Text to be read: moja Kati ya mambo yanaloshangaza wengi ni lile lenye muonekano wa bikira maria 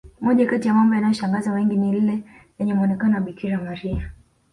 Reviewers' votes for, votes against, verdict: 2, 1, accepted